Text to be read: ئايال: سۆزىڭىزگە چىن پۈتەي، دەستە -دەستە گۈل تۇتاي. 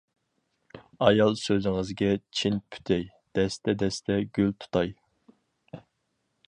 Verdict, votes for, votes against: accepted, 4, 0